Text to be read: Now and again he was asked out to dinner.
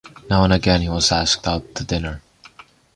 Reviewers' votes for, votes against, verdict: 2, 0, accepted